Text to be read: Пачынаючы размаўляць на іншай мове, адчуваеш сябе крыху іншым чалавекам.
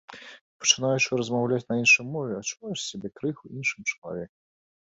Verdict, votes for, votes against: accepted, 2, 0